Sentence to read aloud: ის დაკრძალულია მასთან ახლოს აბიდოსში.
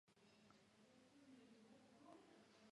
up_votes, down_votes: 0, 2